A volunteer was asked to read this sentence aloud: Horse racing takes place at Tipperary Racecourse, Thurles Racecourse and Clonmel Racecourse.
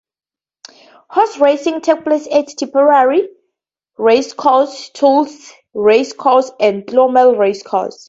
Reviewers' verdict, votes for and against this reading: rejected, 0, 2